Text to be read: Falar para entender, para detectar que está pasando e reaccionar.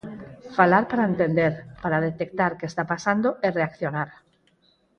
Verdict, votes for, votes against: rejected, 0, 4